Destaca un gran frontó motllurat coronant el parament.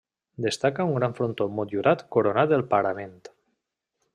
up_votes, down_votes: 1, 2